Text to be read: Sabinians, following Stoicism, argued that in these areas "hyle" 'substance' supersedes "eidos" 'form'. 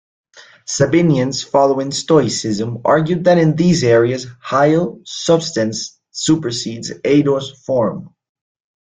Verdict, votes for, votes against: accepted, 2, 0